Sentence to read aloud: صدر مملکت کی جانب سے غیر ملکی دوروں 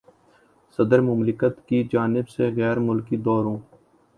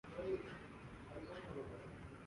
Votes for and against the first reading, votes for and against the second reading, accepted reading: 2, 0, 1, 2, first